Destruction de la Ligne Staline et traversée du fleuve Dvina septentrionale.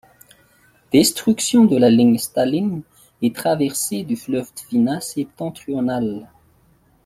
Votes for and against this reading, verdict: 2, 0, accepted